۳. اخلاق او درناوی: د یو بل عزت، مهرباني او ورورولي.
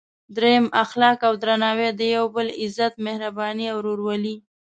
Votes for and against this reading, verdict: 0, 2, rejected